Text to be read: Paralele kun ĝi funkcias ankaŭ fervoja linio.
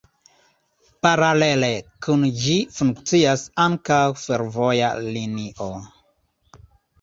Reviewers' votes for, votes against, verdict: 2, 1, accepted